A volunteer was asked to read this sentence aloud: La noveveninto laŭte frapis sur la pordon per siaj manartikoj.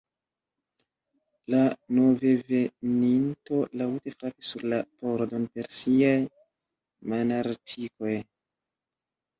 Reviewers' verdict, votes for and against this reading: rejected, 1, 2